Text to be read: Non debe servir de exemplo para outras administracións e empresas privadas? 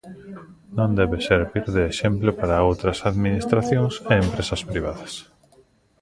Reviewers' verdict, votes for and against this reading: rejected, 1, 2